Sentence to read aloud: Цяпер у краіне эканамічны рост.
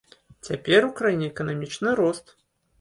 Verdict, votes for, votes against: accepted, 2, 0